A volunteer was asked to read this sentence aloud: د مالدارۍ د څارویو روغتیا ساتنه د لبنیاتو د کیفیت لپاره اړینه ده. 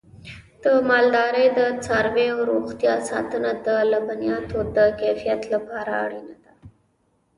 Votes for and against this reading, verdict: 1, 2, rejected